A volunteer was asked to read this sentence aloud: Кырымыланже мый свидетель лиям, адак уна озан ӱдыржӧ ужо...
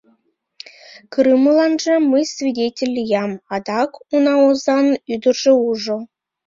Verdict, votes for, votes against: rejected, 1, 2